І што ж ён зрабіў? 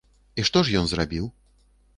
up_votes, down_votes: 2, 0